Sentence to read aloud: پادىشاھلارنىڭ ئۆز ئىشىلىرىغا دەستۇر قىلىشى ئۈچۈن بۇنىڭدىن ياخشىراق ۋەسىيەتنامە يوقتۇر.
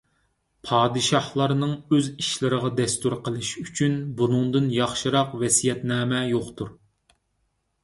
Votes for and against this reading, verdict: 3, 0, accepted